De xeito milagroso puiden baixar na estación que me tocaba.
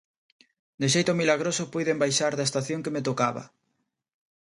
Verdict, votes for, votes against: rejected, 1, 3